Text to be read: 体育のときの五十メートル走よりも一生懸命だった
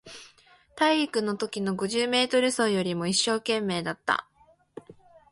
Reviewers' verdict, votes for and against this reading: accepted, 2, 0